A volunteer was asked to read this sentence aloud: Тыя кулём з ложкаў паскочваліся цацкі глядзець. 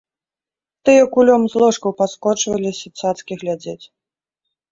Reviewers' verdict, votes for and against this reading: accepted, 2, 0